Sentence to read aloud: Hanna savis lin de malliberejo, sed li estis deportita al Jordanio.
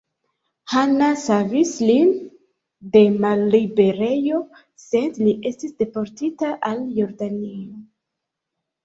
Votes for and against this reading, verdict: 1, 2, rejected